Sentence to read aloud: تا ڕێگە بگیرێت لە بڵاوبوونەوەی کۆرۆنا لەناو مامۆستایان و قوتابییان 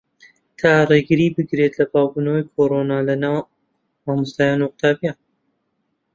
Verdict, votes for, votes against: rejected, 0, 2